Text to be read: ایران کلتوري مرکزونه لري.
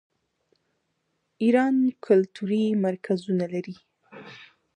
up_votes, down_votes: 2, 1